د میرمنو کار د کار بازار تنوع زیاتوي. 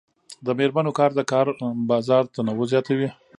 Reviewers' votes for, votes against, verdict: 2, 0, accepted